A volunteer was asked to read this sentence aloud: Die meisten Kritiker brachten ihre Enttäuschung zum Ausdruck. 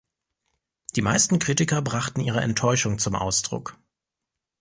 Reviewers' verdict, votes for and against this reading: accepted, 2, 0